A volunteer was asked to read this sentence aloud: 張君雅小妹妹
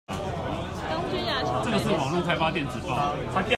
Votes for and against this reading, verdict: 0, 2, rejected